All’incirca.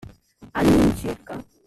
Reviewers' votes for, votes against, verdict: 1, 2, rejected